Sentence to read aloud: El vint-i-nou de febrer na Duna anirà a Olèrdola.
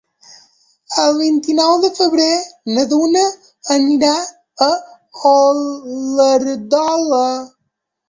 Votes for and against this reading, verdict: 1, 2, rejected